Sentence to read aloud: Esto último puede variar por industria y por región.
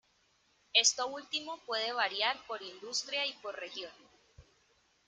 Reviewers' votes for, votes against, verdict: 2, 0, accepted